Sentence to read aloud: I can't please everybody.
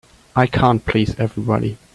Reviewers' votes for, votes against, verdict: 3, 0, accepted